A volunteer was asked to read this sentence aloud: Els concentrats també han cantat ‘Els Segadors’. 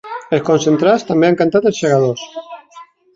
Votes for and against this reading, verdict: 2, 0, accepted